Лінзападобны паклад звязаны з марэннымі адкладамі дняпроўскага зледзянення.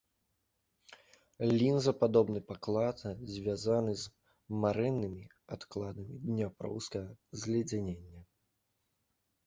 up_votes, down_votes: 1, 3